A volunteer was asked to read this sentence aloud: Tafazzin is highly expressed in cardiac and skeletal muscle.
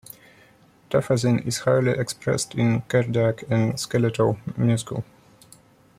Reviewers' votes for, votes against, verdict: 0, 2, rejected